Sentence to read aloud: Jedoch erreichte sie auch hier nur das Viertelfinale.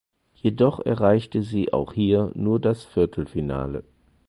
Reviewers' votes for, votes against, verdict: 4, 0, accepted